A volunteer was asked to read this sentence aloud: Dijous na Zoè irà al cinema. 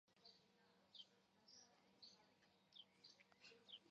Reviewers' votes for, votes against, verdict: 0, 2, rejected